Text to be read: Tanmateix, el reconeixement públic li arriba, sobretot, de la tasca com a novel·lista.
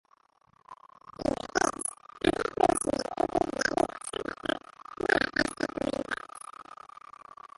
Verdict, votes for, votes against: rejected, 0, 3